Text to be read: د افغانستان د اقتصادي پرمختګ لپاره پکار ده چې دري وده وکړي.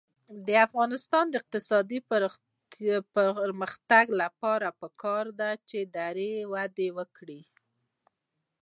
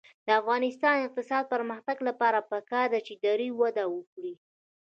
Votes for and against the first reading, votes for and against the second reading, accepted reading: 2, 0, 1, 2, first